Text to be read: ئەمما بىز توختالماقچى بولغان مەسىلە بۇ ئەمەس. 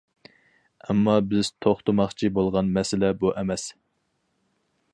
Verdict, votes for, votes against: rejected, 0, 4